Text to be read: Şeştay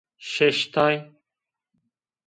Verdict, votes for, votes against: accepted, 2, 0